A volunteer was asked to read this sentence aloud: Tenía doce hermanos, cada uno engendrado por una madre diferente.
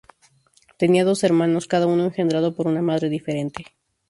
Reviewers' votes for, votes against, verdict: 2, 0, accepted